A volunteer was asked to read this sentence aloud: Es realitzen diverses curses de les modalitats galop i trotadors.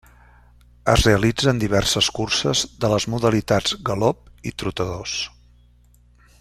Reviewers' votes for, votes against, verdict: 2, 0, accepted